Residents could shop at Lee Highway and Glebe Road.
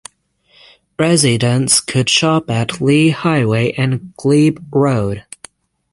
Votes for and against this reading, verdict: 3, 3, rejected